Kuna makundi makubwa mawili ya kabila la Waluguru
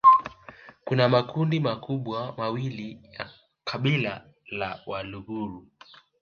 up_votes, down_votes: 1, 2